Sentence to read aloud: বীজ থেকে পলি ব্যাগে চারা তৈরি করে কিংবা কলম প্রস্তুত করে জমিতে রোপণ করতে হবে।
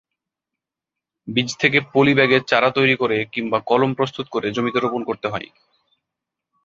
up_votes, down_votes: 0, 2